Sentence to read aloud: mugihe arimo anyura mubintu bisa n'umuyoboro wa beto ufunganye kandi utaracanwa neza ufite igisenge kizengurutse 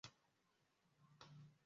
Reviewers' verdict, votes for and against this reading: rejected, 0, 2